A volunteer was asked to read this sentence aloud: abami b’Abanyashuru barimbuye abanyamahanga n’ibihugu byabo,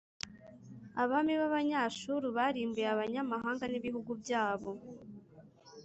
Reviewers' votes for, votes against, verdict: 3, 0, accepted